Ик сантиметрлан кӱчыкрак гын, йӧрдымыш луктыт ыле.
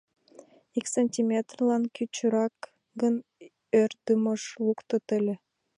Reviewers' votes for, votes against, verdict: 1, 2, rejected